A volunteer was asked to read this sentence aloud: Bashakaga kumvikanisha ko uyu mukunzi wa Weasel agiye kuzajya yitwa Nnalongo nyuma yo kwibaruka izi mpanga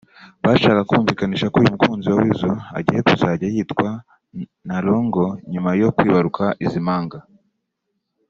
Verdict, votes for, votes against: rejected, 1, 2